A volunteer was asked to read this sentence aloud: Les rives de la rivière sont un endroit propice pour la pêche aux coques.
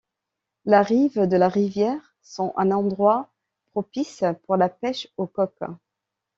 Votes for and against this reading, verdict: 1, 2, rejected